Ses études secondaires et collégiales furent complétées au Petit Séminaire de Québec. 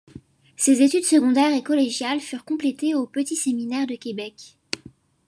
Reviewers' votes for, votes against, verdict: 2, 0, accepted